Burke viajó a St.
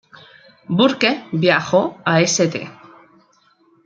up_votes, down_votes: 2, 0